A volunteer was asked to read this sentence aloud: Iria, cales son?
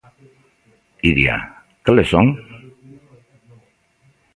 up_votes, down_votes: 2, 0